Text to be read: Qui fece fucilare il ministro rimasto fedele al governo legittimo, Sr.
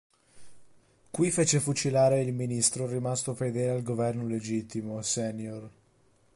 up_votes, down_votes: 0, 3